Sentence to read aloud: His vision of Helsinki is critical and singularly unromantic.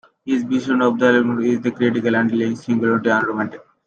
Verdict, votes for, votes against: rejected, 0, 2